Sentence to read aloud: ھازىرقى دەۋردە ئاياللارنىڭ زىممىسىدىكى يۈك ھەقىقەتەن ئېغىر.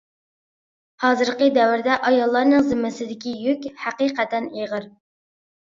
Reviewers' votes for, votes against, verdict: 2, 0, accepted